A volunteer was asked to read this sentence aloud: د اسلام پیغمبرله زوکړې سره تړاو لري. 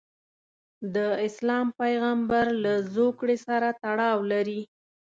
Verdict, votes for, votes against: accepted, 2, 0